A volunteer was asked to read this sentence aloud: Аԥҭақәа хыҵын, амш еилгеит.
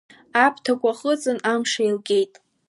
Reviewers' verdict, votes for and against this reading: accepted, 2, 0